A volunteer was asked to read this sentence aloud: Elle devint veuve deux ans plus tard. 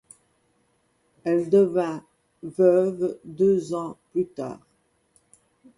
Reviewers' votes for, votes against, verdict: 2, 0, accepted